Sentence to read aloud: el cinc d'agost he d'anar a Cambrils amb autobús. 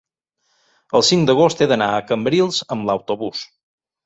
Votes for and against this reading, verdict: 1, 2, rejected